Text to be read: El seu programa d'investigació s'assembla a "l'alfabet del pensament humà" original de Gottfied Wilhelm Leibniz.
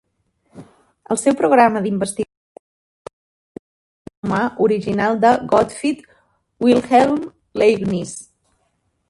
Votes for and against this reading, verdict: 0, 2, rejected